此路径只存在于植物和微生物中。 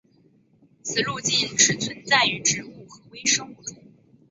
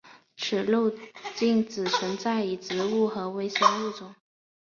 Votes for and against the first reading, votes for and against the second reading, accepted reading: 2, 2, 2, 1, second